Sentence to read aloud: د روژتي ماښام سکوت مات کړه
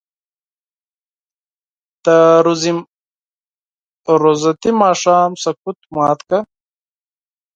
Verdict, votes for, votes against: rejected, 2, 4